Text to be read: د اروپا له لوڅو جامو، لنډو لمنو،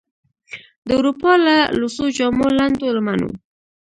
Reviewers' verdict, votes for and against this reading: rejected, 1, 2